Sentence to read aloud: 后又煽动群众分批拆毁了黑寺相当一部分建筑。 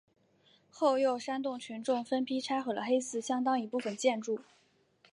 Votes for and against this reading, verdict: 4, 0, accepted